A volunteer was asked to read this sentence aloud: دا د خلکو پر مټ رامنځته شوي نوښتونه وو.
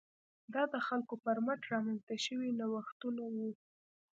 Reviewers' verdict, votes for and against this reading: rejected, 1, 2